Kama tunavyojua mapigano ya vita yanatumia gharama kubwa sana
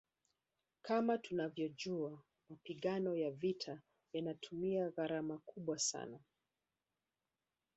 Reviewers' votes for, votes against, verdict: 4, 1, accepted